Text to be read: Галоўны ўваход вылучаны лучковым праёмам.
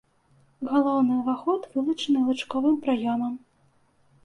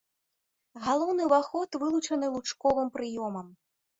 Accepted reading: first